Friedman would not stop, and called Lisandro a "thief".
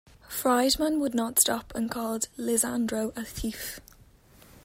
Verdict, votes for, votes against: accepted, 2, 1